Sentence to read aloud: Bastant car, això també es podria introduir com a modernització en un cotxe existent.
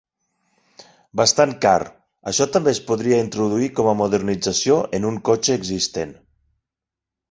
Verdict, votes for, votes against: accepted, 6, 0